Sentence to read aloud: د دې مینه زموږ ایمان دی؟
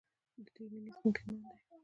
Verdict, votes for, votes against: accepted, 2, 1